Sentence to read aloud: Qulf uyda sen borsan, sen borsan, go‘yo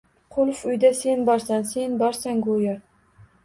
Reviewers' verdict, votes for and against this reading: accepted, 2, 0